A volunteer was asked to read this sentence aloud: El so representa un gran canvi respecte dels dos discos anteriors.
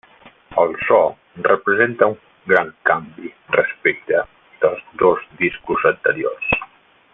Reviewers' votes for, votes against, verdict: 0, 2, rejected